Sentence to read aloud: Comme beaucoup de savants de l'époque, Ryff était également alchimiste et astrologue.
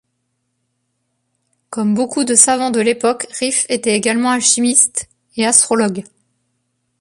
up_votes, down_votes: 0, 2